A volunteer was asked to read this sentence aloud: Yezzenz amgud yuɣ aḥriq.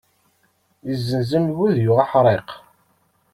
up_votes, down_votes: 2, 0